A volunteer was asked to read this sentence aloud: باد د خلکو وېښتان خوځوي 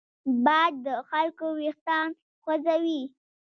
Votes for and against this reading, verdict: 1, 2, rejected